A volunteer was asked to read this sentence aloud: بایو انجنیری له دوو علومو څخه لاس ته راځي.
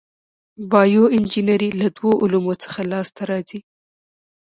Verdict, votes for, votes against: accepted, 2, 0